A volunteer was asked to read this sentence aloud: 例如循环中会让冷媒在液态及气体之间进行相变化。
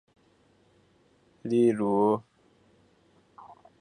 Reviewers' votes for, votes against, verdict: 0, 2, rejected